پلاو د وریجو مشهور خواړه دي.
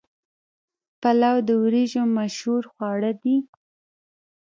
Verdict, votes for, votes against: accepted, 2, 1